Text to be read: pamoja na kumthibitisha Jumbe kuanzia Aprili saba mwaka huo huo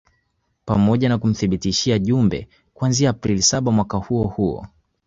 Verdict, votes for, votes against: accepted, 2, 0